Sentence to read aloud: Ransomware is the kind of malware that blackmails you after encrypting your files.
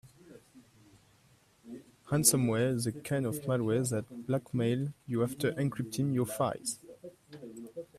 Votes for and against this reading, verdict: 0, 2, rejected